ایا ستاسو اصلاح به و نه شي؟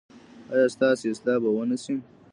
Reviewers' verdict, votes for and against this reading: accepted, 2, 1